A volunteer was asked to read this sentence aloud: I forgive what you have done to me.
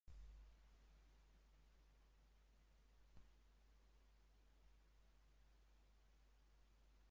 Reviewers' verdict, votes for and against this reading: rejected, 0, 2